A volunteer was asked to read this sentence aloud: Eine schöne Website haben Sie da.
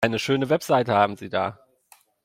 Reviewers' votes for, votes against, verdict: 2, 1, accepted